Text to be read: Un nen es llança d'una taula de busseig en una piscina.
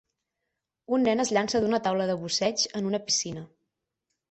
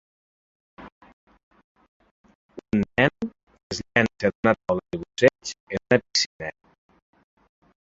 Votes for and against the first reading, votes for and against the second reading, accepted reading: 12, 0, 0, 2, first